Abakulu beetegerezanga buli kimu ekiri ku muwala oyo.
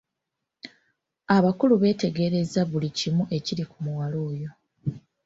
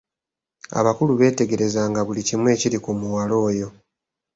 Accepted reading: second